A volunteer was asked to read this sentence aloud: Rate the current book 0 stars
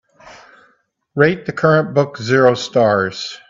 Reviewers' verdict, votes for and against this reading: rejected, 0, 2